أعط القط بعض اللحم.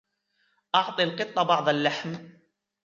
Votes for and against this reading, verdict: 0, 2, rejected